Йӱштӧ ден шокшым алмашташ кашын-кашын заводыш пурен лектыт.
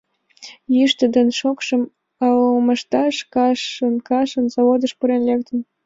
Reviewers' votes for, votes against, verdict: 2, 0, accepted